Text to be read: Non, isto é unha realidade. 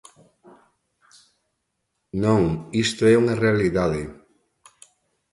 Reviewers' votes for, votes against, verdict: 2, 0, accepted